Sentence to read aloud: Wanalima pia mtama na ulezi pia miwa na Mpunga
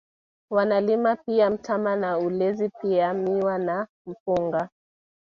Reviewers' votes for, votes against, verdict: 2, 1, accepted